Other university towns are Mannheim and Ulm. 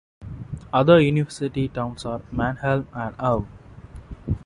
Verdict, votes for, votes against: accepted, 3, 1